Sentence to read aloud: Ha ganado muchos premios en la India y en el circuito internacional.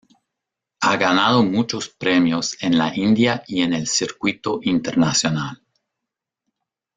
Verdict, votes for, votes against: rejected, 1, 2